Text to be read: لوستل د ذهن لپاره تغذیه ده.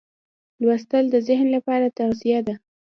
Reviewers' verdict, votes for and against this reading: accepted, 2, 0